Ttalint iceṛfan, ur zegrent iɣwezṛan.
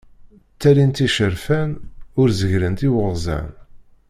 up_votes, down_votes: 0, 2